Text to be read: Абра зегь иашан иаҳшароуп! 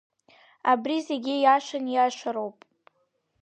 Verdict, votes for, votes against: rejected, 0, 2